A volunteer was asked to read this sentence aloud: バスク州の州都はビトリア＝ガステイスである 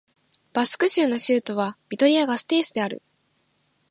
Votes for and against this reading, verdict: 2, 0, accepted